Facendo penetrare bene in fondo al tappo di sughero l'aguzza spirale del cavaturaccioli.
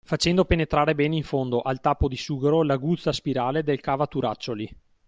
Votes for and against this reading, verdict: 2, 0, accepted